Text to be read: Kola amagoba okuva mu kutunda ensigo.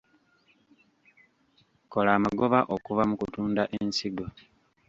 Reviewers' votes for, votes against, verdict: 1, 2, rejected